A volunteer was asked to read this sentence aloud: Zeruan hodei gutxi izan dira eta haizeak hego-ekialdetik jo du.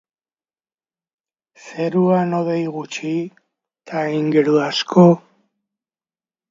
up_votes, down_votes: 0, 2